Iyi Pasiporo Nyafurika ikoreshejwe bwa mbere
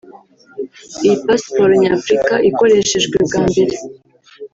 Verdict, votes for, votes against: rejected, 1, 2